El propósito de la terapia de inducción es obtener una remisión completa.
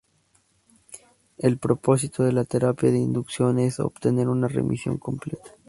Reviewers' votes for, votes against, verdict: 0, 4, rejected